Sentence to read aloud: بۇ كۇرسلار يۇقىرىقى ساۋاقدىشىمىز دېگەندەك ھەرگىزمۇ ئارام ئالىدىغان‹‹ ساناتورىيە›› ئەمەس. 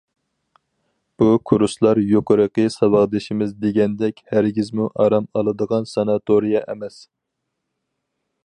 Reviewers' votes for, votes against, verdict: 2, 0, accepted